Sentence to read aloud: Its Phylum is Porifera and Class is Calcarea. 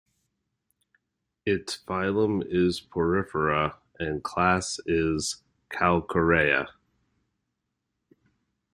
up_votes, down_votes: 2, 0